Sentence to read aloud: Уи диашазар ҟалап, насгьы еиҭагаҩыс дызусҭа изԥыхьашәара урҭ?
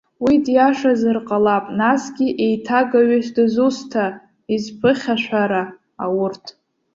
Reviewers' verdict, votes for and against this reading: rejected, 0, 2